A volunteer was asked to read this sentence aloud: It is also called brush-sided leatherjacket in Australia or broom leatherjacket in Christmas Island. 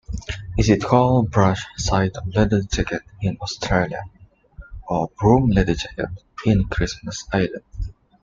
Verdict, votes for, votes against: rejected, 0, 2